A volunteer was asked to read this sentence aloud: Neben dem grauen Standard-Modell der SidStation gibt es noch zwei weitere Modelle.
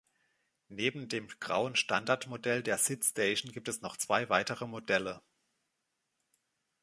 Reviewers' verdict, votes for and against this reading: accepted, 2, 0